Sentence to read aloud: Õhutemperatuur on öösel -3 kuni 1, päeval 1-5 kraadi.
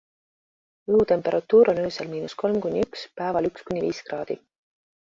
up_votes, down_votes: 0, 2